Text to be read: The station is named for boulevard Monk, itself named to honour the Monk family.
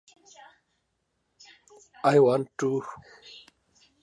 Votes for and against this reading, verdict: 0, 2, rejected